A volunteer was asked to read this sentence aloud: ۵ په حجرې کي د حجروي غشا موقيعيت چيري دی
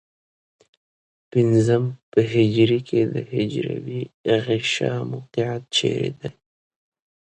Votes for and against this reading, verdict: 0, 2, rejected